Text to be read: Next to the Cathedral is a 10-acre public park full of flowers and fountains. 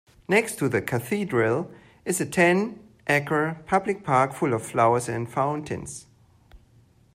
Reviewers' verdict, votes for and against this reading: rejected, 0, 2